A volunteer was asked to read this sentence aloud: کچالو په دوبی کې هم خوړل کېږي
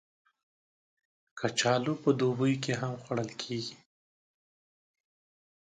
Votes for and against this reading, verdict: 0, 2, rejected